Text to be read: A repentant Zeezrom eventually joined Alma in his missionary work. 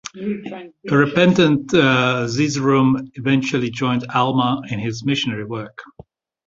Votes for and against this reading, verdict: 0, 2, rejected